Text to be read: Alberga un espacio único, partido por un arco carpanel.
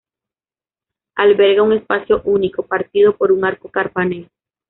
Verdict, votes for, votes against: accepted, 2, 1